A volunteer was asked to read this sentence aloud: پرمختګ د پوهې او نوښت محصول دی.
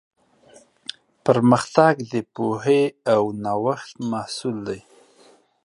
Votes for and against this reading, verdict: 2, 0, accepted